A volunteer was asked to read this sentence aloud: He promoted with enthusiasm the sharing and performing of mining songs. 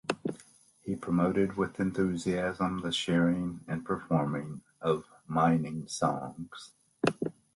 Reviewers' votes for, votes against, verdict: 2, 0, accepted